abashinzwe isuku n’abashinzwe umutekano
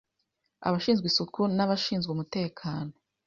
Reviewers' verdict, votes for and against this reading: accepted, 2, 0